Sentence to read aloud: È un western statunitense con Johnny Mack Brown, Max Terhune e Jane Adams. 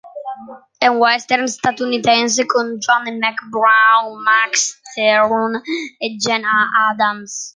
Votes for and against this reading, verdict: 2, 1, accepted